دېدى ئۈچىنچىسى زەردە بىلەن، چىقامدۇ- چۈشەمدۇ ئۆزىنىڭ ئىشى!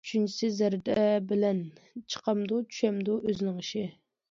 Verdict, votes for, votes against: rejected, 0, 2